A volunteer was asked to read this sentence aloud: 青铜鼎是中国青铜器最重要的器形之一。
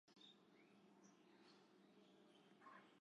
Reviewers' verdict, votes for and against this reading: rejected, 0, 3